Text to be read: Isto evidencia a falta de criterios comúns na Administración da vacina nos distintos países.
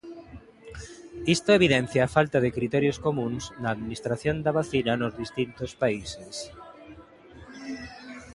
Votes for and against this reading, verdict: 2, 0, accepted